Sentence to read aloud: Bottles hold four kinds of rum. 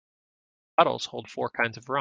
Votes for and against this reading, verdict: 1, 2, rejected